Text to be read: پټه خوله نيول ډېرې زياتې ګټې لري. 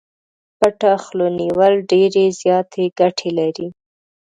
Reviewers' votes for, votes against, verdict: 2, 0, accepted